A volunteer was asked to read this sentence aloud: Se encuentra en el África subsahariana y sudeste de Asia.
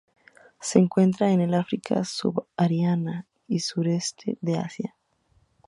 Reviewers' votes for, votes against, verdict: 0, 2, rejected